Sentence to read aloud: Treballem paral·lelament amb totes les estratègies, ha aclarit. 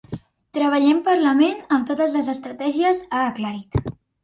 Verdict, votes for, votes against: rejected, 0, 2